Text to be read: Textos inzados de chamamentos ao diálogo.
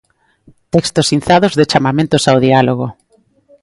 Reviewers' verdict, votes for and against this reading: accepted, 2, 0